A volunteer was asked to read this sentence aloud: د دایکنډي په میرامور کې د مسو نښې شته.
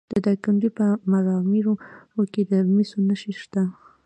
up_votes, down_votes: 2, 0